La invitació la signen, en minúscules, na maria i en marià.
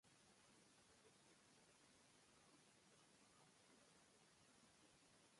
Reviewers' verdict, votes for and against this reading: rejected, 0, 2